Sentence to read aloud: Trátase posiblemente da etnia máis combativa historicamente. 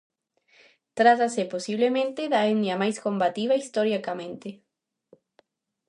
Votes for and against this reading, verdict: 2, 0, accepted